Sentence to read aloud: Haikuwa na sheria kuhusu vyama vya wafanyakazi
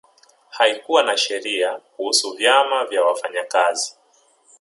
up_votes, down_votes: 1, 2